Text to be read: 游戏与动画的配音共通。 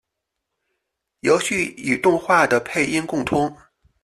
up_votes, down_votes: 2, 0